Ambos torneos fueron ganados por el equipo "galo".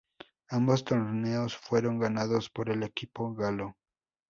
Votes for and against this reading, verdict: 2, 0, accepted